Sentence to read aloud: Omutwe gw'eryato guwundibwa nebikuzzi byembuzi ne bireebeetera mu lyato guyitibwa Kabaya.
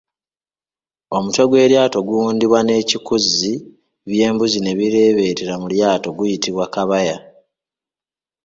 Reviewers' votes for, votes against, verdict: 0, 2, rejected